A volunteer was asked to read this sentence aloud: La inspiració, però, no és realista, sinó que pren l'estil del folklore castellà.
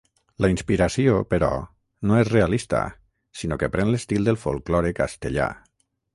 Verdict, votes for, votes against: rejected, 3, 3